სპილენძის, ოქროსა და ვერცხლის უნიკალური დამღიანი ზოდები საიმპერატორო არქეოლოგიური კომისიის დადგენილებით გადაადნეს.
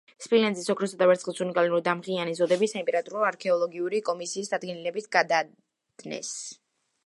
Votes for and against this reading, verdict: 1, 2, rejected